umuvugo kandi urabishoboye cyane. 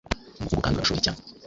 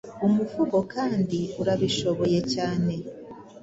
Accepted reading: second